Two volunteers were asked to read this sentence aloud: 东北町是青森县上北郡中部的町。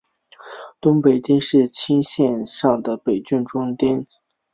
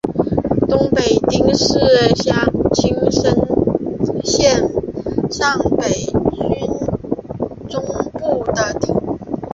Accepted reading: first